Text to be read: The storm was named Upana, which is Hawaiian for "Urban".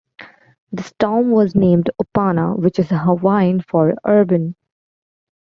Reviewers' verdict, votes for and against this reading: accepted, 2, 1